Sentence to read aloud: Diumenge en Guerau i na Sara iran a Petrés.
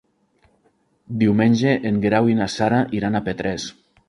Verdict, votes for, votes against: accepted, 2, 0